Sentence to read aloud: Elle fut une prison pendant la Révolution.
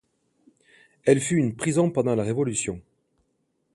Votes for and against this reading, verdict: 1, 2, rejected